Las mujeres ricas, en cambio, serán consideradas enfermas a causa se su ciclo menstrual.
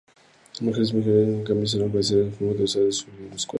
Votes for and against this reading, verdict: 0, 4, rejected